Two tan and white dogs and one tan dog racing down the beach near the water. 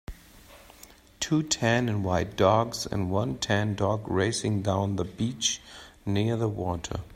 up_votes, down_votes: 2, 0